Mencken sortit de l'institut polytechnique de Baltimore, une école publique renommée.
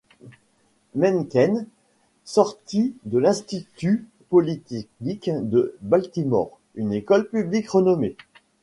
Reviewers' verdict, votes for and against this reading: rejected, 1, 2